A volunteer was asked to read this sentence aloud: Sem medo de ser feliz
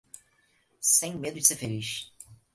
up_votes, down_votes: 4, 0